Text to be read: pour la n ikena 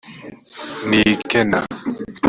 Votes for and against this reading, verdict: 1, 2, rejected